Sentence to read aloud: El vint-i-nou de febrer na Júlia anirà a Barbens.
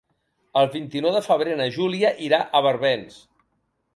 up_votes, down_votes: 1, 2